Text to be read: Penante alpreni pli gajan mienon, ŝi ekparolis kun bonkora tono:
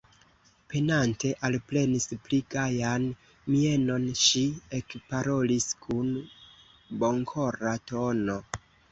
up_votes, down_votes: 0, 2